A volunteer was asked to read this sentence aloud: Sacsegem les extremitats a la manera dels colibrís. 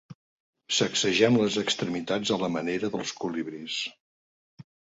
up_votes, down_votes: 2, 0